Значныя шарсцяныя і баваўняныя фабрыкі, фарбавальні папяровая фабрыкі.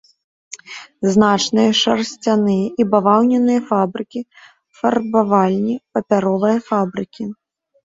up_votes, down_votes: 0, 2